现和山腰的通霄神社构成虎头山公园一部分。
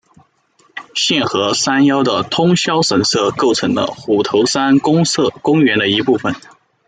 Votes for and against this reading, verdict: 0, 2, rejected